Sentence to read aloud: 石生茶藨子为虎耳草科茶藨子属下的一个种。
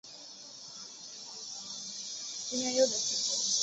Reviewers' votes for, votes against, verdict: 3, 2, accepted